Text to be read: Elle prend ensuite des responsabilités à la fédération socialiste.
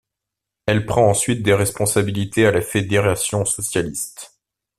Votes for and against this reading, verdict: 2, 0, accepted